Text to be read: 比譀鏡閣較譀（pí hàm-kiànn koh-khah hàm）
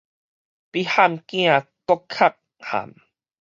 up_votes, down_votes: 2, 4